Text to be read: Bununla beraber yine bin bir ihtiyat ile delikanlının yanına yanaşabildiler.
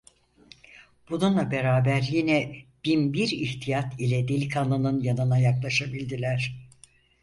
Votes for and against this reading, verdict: 0, 4, rejected